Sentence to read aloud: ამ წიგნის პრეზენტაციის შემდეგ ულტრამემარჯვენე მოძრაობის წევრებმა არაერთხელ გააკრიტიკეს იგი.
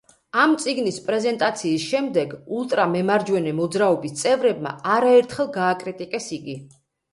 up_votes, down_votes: 2, 0